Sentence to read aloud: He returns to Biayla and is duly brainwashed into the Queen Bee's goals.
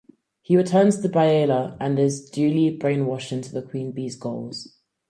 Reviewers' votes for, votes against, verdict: 4, 0, accepted